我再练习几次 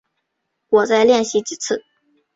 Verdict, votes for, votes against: accepted, 2, 1